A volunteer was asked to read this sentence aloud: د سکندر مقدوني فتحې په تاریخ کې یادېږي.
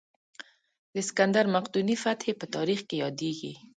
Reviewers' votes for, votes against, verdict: 1, 2, rejected